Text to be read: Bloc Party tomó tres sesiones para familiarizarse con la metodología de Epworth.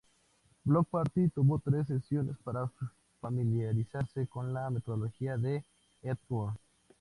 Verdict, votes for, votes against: accepted, 2, 0